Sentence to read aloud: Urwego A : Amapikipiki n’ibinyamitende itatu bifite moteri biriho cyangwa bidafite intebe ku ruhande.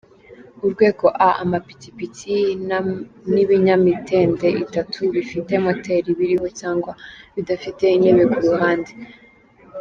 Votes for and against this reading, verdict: 1, 3, rejected